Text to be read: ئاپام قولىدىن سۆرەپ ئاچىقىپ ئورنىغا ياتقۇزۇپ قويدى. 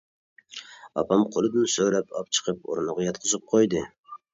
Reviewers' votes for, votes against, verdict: 0, 2, rejected